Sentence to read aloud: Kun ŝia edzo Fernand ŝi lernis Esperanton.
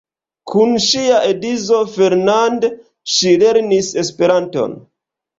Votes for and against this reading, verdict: 2, 1, accepted